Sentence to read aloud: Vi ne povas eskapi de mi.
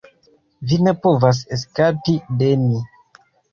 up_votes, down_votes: 2, 0